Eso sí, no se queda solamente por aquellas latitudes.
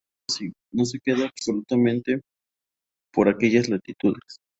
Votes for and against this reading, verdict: 2, 0, accepted